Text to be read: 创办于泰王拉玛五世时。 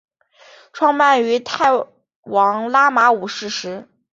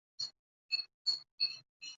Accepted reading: first